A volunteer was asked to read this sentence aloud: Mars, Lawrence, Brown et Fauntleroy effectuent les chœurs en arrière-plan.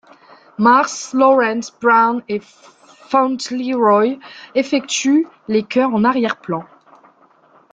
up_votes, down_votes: 0, 2